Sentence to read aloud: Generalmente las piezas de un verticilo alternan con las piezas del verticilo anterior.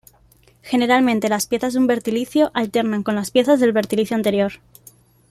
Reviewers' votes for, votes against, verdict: 1, 2, rejected